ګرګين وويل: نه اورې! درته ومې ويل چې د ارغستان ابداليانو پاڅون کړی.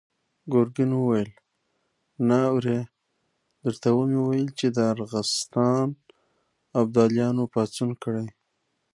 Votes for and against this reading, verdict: 0, 2, rejected